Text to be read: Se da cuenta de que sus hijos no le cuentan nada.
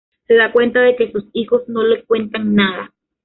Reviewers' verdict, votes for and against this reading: rejected, 1, 2